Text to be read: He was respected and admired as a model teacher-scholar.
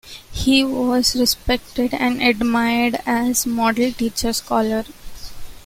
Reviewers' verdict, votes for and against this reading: accepted, 2, 1